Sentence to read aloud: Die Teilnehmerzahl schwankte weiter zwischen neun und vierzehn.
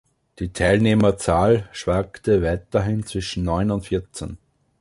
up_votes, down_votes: 0, 2